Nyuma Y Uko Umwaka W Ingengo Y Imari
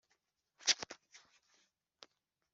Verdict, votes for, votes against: rejected, 1, 2